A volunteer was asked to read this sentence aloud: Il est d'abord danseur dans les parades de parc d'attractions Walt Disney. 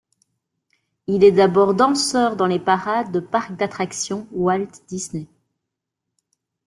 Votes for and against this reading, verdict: 1, 2, rejected